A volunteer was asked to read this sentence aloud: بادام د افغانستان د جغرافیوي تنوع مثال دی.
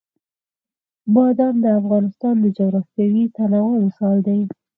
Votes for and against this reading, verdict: 4, 0, accepted